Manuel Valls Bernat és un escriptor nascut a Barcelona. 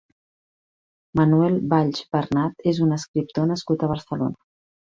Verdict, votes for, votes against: accepted, 4, 0